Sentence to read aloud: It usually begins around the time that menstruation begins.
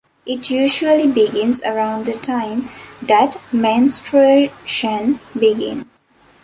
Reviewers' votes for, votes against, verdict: 0, 2, rejected